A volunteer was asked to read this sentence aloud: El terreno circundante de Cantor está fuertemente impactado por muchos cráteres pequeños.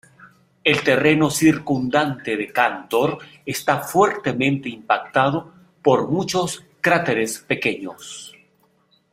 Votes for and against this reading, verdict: 2, 0, accepted